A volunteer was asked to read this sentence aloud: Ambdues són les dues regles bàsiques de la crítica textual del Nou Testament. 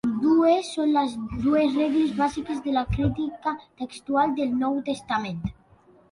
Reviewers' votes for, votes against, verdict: 2, 0, accepted